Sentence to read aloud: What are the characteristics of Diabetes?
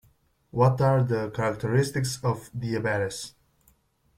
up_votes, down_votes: 1, 2